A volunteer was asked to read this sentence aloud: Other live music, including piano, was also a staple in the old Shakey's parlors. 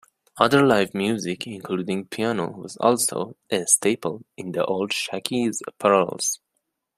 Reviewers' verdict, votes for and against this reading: accepted, 2, 0